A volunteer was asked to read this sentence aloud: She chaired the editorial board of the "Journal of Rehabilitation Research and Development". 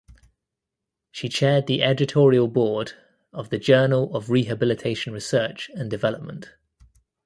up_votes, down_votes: 2, 0